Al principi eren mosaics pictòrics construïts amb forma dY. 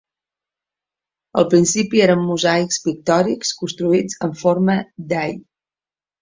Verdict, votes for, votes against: accepted, 2, 0